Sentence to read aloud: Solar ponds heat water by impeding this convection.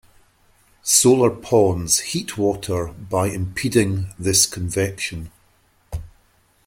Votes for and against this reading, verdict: 2, 0, accepted